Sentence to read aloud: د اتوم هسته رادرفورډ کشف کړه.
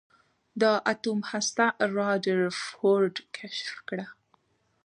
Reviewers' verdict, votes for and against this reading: accepted, 2, 0